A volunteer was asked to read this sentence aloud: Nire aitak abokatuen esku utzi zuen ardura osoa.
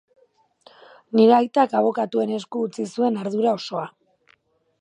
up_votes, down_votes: 2, 0